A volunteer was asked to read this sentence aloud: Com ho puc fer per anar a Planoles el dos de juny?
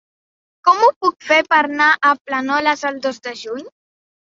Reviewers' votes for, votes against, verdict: 1, 2, rejected